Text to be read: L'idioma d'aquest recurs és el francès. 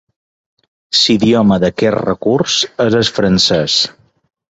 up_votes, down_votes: 1, 2